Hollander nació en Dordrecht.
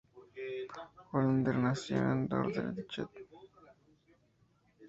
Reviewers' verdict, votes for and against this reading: rejected, 0, 2